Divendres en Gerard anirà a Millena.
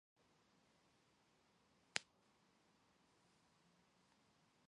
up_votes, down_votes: 0, 2